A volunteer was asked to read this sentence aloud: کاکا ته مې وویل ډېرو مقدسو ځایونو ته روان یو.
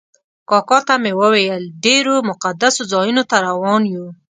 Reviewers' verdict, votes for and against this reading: accepted, 2, 0